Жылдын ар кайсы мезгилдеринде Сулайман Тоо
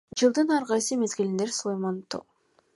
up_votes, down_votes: 1, 2